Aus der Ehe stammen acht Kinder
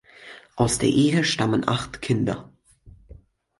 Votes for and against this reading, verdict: 4, 0, accepted